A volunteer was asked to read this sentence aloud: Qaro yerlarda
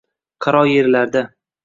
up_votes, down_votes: 2, 0